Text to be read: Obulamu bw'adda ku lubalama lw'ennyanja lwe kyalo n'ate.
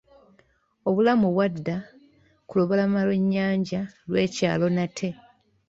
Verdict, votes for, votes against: accepted, 3, 0